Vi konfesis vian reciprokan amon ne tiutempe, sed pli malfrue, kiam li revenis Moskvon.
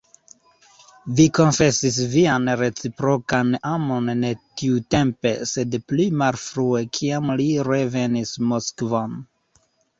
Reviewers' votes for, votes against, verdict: 1, 2, rejected